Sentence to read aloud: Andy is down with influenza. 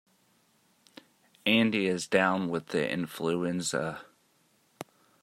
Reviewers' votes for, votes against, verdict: 0, 2, rejected